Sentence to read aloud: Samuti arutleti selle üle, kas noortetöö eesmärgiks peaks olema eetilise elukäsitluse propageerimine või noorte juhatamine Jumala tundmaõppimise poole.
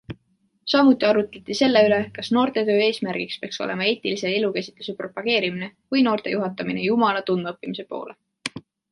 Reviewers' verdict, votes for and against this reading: accepted, 2, 0